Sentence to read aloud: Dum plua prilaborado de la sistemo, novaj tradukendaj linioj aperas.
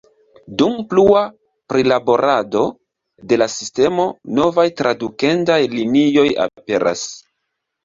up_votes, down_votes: 2, 0